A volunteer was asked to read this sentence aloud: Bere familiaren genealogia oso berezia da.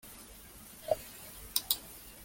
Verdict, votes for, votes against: rejected, 0, 2